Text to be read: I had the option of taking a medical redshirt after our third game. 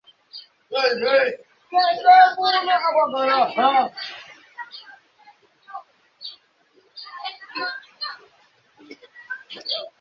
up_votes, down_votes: 0, 2